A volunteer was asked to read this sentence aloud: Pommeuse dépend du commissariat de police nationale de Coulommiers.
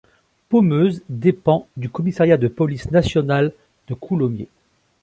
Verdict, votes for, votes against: accepted, 3, 0